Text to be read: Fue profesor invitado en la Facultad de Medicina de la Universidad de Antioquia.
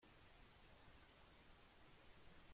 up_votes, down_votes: 0, 2